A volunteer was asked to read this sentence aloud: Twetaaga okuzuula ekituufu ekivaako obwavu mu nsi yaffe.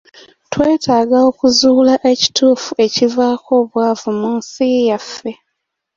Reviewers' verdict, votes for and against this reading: accepted, 2, 0